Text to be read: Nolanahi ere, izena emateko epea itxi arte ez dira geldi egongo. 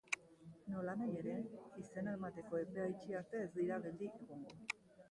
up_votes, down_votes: 3, 3